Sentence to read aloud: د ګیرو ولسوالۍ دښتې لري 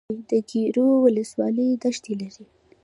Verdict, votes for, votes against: rejected, 0, 2